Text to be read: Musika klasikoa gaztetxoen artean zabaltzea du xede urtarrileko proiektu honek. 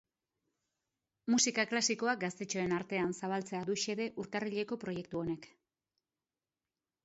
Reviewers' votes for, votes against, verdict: 2, 0, accepted